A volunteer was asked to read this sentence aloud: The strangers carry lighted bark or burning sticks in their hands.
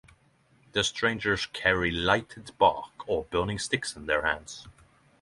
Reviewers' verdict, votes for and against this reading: accepted, 3, 0